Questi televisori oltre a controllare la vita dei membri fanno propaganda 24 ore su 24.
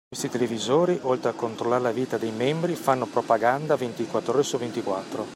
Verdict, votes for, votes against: rejected, 0, 2